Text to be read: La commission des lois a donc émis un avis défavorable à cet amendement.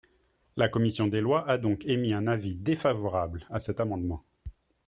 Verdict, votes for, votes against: accepted, 3, 0